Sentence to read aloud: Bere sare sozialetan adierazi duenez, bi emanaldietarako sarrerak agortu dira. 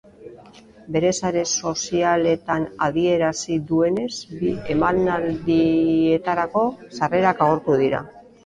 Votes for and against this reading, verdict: 2, 3, rejected